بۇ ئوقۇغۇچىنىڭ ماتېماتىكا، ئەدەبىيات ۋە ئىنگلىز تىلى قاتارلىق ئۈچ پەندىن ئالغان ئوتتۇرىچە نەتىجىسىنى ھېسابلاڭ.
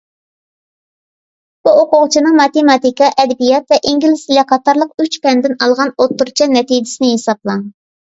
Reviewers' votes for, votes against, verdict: 2, 1, accepted